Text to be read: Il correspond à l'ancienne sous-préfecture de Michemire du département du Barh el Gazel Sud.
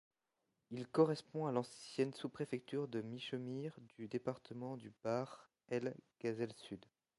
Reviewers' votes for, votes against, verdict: 1, 2, rejected